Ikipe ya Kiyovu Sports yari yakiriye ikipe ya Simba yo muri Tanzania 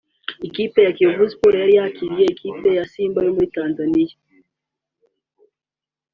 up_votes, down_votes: 2, 0